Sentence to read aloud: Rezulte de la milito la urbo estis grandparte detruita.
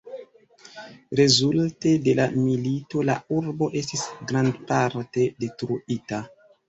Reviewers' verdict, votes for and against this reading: rejected, 0, 2